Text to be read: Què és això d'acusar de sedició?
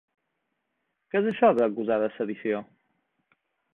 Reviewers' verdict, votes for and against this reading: accepted, 2, 0